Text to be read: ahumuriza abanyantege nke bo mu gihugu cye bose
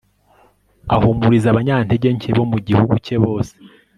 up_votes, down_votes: 1, 2